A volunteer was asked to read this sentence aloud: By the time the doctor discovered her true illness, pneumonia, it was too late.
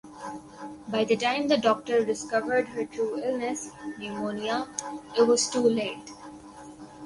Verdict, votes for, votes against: rejected, 0, 2